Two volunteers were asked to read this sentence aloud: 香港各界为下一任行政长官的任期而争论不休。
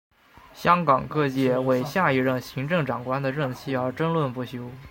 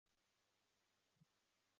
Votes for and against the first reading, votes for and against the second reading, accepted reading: 2, 0, 2, 3, first